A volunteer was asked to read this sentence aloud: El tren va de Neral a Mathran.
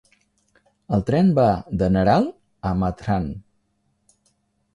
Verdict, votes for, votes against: accepted, 2, 0